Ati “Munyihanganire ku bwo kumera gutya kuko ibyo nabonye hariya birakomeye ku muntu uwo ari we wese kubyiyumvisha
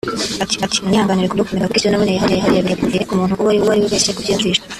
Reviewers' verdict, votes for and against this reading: rejected, 0, 3